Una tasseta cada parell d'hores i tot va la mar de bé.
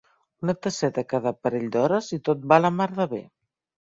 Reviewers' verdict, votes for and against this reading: rejected, 1, 2